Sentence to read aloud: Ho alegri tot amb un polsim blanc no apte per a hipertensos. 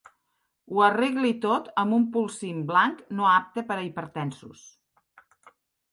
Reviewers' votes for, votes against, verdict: 1, 2, rejected